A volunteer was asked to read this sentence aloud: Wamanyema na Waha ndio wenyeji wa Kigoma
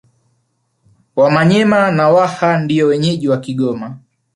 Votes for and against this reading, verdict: 3, 0, accepted